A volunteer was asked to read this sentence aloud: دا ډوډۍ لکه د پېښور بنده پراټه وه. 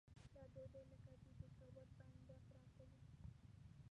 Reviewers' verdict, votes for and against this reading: rejected, 0, 2